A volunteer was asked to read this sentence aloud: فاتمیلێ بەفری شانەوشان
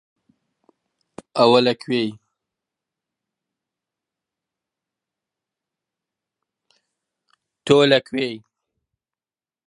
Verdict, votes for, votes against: rejected, 0, 2